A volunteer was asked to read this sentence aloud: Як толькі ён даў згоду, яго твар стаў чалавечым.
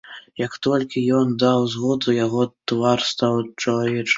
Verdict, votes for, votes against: accepted, 2, 1